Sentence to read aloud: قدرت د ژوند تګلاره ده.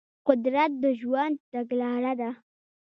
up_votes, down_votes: 1, 2